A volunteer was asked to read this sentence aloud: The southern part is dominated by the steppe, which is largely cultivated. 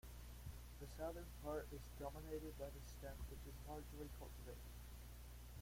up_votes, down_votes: 0, 2